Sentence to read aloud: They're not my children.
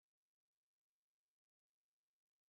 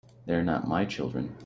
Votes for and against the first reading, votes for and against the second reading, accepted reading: 0, 2, 2, 0, second